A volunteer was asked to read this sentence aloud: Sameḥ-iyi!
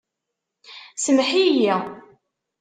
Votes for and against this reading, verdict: 1, 2, rejected